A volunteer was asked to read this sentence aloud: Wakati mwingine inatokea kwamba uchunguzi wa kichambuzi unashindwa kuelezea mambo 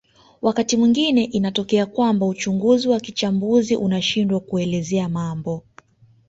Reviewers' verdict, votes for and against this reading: accepted, 2, 0